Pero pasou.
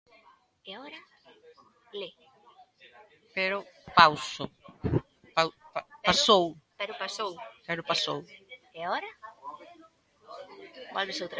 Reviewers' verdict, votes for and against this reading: rejected, 0, 3